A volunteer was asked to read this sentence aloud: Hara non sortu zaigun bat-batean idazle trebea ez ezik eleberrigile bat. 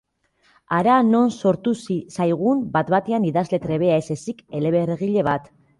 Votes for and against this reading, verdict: 2, 1, accepted